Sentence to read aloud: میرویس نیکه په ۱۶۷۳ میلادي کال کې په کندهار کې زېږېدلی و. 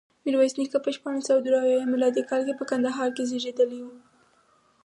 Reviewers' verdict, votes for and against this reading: rejected, 0, 2